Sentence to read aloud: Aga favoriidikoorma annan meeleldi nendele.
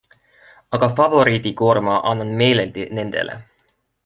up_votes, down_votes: 2, 0